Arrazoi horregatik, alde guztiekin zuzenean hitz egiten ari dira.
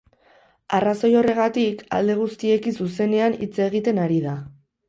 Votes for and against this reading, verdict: 0, 2, rejected